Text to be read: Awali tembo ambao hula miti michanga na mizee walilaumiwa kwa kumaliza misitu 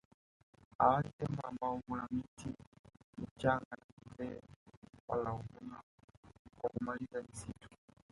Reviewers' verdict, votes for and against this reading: rejected, 1, 4